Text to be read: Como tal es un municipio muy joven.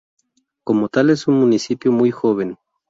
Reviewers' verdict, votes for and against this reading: accepted, 2, 0